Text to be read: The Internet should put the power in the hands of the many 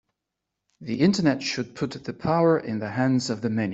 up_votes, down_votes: 3, 0